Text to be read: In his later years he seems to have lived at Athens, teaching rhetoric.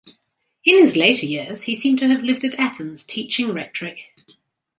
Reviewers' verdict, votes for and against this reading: rejected, 1, 2